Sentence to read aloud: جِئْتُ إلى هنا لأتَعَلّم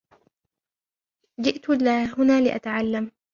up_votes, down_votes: 0, 2